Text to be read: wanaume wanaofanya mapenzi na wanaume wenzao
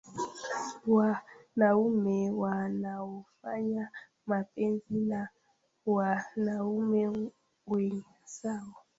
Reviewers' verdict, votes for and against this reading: accepted, 2, 1